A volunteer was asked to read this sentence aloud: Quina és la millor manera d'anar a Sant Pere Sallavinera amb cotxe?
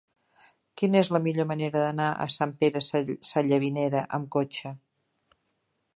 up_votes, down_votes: 0, 2